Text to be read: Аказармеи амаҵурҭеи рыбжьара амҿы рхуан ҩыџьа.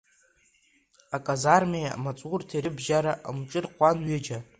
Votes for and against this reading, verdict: 1, 2, rejected